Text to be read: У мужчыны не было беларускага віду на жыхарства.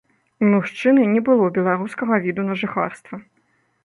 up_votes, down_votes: 2, 0